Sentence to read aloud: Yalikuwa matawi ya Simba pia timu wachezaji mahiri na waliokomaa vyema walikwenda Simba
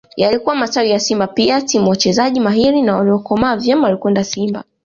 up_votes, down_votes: 2, 0